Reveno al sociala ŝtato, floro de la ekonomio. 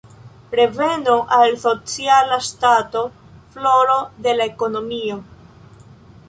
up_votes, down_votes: 2, 0